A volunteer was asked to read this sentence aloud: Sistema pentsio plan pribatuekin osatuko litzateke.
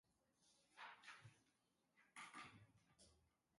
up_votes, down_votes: 0, 2